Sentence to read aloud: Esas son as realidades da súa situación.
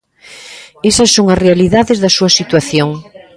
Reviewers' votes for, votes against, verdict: 1, 2, rejected